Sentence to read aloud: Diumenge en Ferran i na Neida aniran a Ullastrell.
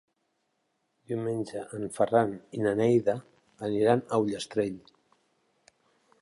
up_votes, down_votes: 3, 0